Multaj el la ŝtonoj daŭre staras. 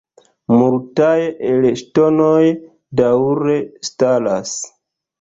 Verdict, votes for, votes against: accepted, 2, 0